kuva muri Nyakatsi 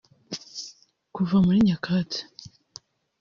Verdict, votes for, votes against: rejected, 1, 2